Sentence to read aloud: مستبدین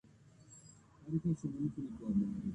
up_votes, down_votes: 0, 2